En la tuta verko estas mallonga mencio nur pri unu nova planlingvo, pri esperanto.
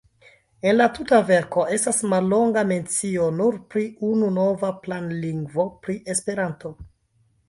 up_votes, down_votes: 1, 2